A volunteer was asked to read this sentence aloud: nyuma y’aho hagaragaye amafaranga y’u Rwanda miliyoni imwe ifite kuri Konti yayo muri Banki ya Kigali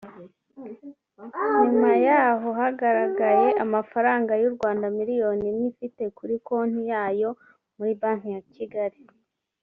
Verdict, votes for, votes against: rejected, 1, 2